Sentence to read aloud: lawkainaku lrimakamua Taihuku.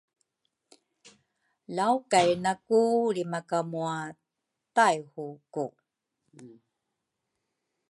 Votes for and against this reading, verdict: 3, 0, accepted